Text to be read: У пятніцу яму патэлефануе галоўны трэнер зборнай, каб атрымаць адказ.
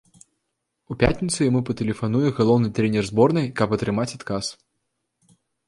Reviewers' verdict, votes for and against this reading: accepted, 2, 0